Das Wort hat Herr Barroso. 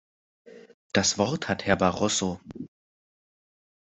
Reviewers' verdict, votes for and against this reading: rejected, 1, 2